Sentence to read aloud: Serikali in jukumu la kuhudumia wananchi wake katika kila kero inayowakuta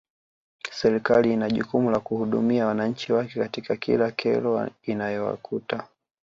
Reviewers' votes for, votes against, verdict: 2, 0, accepted